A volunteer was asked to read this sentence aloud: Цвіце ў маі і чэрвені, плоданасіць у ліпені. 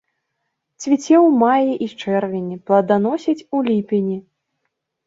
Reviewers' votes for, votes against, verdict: 2, 0, accepted